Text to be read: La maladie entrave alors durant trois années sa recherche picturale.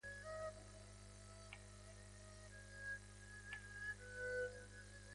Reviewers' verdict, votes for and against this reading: rejected, 0, 4